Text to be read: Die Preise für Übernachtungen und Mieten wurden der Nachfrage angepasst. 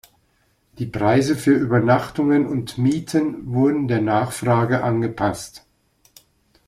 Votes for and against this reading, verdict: 2, 0, accepted